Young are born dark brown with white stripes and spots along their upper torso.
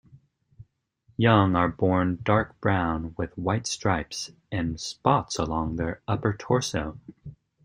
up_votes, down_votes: 2, 0